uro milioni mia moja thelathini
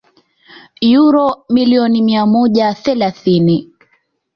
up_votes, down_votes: 2, 0